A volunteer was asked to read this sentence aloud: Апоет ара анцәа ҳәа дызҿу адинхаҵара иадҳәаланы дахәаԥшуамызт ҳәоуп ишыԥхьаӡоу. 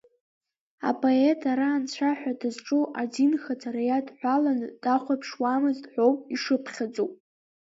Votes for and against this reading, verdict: 2, 1, accepted